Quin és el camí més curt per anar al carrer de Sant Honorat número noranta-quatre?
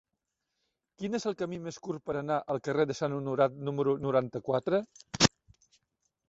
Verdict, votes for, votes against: accepted, 3, 0